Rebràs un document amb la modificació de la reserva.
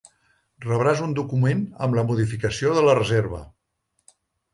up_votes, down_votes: 3, 0